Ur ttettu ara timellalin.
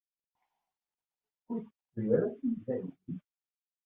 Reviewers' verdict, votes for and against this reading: rejected, 1, 2